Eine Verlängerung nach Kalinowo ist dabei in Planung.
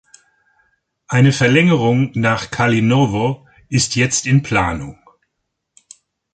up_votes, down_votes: 0, 2